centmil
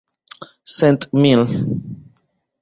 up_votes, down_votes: 1, 2